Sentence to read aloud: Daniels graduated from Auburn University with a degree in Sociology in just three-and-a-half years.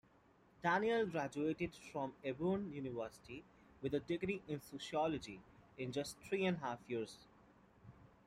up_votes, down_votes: 2, 1